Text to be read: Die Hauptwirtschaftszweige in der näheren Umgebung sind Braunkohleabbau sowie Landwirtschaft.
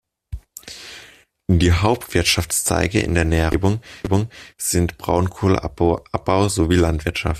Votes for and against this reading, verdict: 1, 2, rejected